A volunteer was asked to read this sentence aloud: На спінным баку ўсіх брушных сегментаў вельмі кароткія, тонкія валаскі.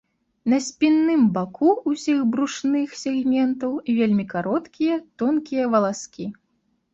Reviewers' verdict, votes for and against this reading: accepted, 2, 0